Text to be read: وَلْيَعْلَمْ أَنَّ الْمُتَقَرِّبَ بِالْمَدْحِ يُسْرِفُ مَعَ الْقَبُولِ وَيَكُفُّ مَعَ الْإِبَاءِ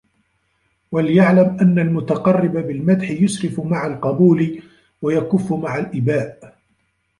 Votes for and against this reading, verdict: 0, 2, rejected